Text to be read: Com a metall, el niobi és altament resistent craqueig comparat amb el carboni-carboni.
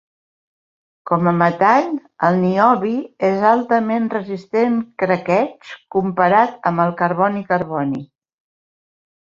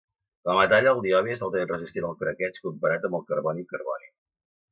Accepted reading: first